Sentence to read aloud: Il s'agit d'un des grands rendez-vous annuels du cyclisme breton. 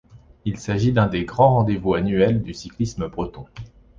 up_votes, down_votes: 2, 0